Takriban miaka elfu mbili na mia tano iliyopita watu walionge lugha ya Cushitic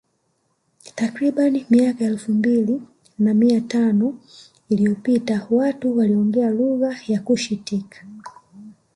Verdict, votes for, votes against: accepted, 2, 0